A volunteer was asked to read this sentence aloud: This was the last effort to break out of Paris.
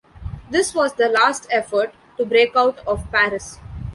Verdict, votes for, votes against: rejected, 1, 2